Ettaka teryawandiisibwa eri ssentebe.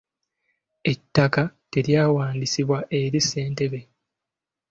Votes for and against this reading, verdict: 2, 0, accepted